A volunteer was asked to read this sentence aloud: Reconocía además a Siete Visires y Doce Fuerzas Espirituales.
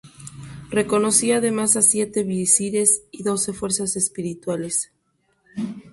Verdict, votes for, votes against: rejected, 2, 2